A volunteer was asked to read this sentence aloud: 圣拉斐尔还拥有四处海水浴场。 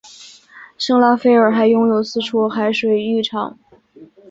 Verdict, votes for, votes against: accepted, 6, 0